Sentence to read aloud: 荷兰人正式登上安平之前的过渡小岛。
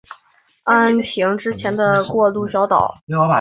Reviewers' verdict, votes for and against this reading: rejected, 1, 5